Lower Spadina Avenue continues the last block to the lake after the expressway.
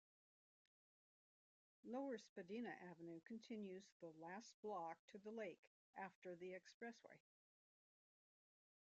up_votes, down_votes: 0, 2